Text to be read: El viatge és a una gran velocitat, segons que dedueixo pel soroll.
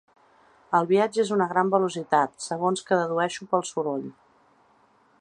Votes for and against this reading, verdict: 0, 2, rejected